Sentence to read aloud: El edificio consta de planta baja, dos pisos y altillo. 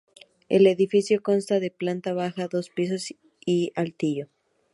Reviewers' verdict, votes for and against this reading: rejected, 0, 2